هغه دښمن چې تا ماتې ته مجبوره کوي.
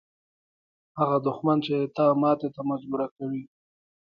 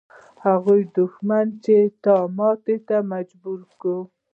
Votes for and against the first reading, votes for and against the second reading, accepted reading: 2, 0, 1, 2, first